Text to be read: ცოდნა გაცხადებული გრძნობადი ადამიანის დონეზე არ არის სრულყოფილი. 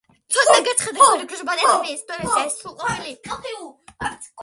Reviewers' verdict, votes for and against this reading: rejected, 0, 2